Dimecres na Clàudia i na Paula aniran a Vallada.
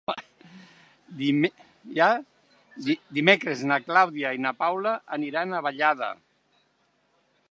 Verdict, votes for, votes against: rejected, 1, 3